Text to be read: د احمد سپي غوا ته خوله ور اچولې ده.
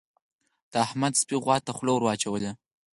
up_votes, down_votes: 4, 2